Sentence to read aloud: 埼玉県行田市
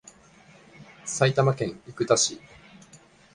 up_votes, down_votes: 2, 1